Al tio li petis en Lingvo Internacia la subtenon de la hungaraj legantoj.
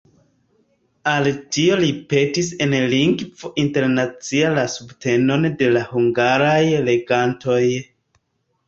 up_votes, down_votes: 2, 0